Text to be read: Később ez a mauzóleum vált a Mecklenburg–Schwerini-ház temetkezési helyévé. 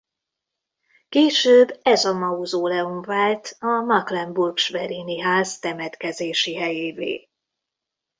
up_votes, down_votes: 0, 2